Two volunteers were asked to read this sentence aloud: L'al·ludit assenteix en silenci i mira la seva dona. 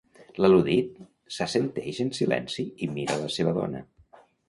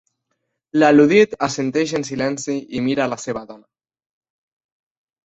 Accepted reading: second